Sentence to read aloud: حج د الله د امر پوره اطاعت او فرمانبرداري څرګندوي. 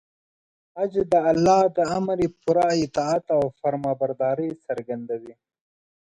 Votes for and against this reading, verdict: 1, 2, rejected